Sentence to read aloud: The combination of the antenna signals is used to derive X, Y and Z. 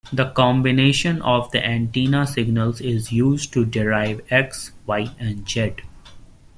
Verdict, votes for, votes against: rejected, 1, 2